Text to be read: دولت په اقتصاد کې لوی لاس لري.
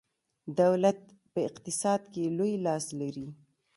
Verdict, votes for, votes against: rejected, 1, 2